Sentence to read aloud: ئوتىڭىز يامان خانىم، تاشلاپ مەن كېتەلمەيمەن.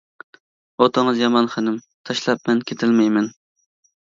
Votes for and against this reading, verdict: 1, 2, rejected